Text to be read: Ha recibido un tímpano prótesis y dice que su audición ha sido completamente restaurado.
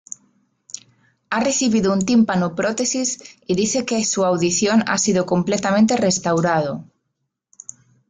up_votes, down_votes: 2, 1